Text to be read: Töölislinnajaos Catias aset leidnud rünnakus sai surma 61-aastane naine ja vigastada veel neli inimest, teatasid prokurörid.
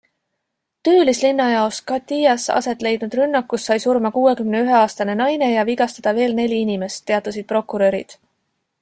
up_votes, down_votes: 0, 2